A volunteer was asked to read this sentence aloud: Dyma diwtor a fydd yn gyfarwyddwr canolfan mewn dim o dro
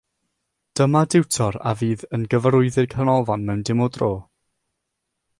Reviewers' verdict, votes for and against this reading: rejected, 3, 3